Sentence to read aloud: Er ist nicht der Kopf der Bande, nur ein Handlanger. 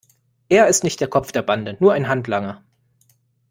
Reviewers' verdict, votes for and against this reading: accepted, 2, 0